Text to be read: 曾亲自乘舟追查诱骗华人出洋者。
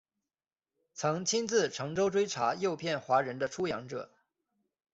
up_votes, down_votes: 0, 2